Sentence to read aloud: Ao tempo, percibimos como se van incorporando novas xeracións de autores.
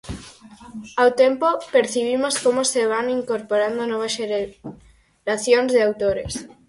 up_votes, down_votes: 0, 4